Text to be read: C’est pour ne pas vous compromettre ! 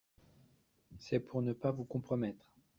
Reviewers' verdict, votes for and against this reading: accepted, 2, 0